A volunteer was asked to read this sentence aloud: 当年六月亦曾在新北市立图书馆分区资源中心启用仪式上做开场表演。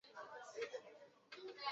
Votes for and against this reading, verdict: 0, 2, rejected